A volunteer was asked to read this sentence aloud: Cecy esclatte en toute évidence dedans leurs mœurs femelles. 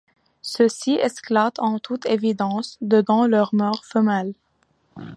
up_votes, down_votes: 2, 0